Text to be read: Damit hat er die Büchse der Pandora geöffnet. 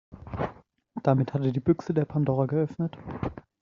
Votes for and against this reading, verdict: 2, 1, accepted